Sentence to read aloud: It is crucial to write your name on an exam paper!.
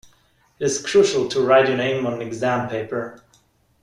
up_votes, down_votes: 0, 2